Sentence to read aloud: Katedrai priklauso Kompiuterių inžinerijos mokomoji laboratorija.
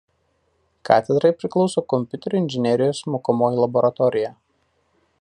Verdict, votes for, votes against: accepted, 2, 0